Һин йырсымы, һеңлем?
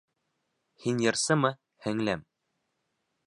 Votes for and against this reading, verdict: 2, 0, accepted